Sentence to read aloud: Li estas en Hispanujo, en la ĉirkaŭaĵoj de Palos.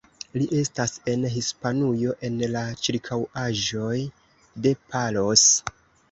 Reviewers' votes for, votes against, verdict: 2, 0, accepted